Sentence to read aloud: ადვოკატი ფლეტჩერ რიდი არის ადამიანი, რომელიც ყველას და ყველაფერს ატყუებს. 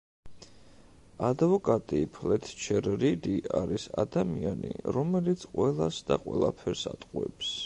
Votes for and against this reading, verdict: 1, 2, rejected